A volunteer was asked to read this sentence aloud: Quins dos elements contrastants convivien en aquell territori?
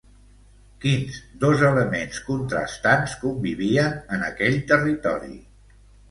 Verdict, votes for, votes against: accepted, 2, 0